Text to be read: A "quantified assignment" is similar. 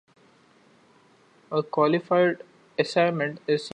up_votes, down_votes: 0, 2